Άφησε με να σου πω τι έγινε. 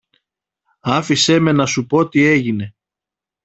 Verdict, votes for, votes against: accepted, 2, 0